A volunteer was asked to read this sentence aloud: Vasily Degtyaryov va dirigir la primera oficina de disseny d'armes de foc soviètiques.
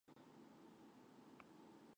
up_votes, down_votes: 0, 2